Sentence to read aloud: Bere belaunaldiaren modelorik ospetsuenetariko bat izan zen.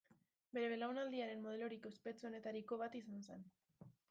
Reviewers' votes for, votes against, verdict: 2, 1, accepted